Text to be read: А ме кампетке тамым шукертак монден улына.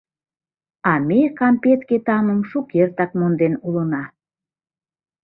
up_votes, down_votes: 2, 0